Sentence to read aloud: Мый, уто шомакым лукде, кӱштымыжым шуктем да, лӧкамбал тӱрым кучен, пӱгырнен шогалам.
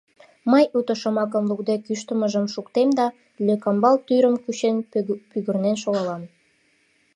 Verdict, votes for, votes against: rejected, 0, 2